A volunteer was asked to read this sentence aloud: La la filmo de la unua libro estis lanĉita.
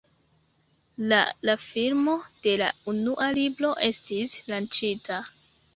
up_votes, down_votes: 0, 2